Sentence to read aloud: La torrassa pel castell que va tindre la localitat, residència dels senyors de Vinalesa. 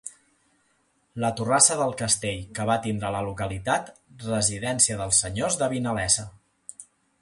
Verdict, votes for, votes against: rejected, 1, 2